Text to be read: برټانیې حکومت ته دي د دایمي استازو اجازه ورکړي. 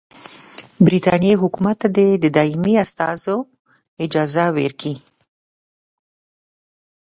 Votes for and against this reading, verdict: 0, 2, rejected